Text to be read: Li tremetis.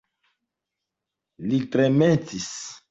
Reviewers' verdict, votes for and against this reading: accepted, 2, 0